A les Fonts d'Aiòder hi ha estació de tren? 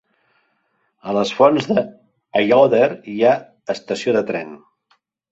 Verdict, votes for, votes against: rejected, 0, 2